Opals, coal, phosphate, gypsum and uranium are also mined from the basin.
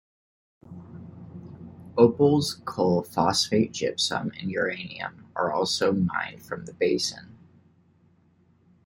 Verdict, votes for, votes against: rejected, 0, 2